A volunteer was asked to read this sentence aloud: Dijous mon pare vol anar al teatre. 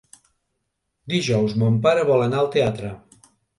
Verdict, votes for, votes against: accepted, 3, 1